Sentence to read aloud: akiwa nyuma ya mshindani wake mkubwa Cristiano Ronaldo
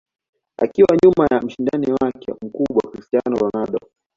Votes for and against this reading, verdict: 2, 0, accepted